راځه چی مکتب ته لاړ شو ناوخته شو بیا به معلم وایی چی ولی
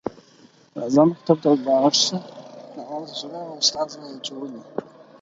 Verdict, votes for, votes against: rejected, 0, 4